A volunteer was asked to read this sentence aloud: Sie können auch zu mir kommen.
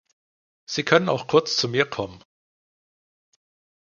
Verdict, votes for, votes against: rejected, 1, 2